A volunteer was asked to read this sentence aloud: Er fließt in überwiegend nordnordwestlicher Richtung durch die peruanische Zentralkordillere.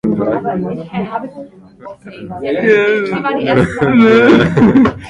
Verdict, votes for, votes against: rejected, 0, 2